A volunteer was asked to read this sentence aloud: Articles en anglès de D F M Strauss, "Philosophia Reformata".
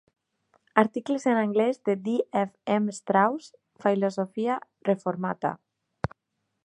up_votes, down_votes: 0, 2